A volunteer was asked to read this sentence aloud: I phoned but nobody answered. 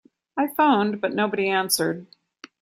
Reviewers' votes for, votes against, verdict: 2, 0, accepted